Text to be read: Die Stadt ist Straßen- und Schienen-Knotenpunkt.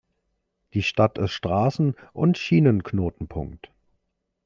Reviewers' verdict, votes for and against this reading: accepted, 3, 0